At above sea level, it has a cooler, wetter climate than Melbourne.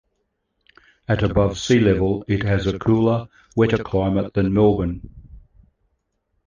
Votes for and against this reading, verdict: 1, 2, rejected